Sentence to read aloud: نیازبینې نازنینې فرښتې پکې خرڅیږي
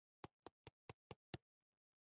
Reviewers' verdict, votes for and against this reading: rejected, 0, 2